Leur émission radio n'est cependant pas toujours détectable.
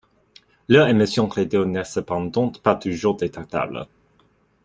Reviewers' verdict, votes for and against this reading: rejected, 0, 2